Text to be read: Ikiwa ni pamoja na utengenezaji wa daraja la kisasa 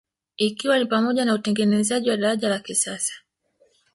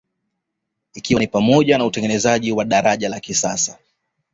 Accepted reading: second